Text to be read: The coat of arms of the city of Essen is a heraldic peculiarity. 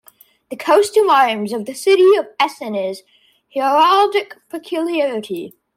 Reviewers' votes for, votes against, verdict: 1, 2, rejected